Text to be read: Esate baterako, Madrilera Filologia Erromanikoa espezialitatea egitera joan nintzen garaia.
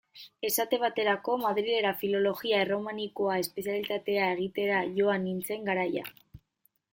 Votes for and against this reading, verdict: 2, 0, accepted